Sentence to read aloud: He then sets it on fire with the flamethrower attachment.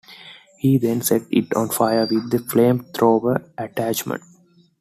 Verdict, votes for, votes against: accepted, 2, 0